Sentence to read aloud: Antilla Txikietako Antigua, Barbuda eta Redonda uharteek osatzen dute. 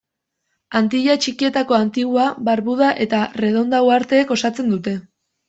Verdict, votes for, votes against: accepted, 2, 0